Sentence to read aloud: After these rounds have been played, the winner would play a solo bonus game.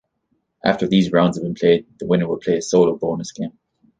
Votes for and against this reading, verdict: 2, 0, accepted